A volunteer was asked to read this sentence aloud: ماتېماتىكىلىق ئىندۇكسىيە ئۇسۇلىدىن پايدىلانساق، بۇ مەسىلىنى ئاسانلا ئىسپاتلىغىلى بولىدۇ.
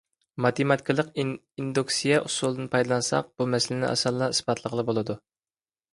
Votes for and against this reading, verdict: 0, 2, rejected